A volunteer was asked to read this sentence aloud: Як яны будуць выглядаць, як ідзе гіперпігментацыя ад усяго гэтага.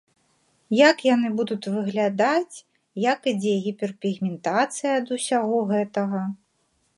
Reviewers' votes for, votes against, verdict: 1, 2, rejected